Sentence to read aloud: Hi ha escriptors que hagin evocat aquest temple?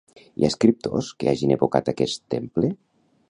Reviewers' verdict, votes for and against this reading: accepted, 2, 0